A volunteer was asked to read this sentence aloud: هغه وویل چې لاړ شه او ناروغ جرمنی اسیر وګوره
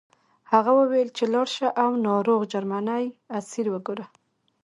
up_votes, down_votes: 2, 1